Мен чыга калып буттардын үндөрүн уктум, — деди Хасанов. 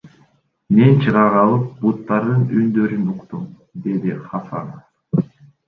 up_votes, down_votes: 2, 1